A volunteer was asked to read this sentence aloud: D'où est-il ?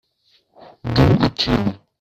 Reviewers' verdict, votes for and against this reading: rejected, 1, 2